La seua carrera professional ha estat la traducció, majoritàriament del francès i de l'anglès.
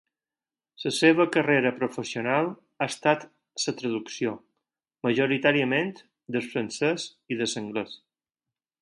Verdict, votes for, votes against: rejected, 0, 4